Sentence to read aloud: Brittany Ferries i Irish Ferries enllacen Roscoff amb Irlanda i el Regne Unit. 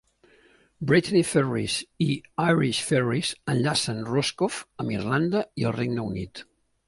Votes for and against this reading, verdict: 3, 1, accepted